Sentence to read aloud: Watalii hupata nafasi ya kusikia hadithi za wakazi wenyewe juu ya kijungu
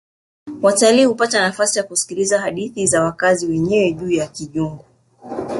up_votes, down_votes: 1, 2